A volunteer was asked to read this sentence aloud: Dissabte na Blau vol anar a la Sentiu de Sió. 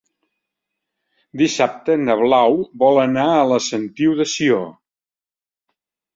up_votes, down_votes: 3, 0